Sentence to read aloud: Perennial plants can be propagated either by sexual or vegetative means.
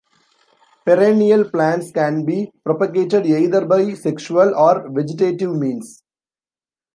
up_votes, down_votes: 1, 2